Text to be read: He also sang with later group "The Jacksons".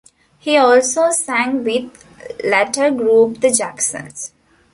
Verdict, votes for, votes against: rejected, 1, 2